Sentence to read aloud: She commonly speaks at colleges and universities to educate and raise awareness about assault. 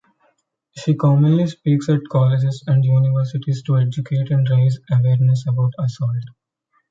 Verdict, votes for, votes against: rejected, 0, 2